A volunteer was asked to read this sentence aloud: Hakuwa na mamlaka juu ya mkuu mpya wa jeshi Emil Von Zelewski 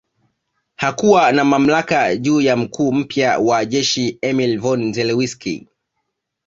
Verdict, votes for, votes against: accepted, 2, 1